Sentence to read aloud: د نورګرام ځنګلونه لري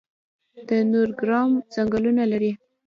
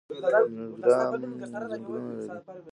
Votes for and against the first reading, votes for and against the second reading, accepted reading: 2, 0, 1, 2, first